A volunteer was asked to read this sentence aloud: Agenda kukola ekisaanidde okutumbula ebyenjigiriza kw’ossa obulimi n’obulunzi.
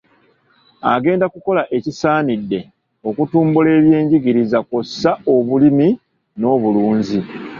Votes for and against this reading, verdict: 1, 2, rejected